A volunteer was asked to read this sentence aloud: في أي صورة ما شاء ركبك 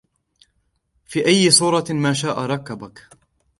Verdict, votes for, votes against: accepted, 2, 0